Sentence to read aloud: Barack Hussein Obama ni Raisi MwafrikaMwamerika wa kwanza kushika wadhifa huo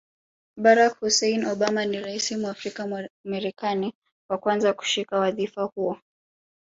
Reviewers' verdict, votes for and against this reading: rejected, 1, 2